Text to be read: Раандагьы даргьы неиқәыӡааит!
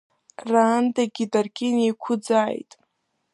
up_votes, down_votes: 2, 0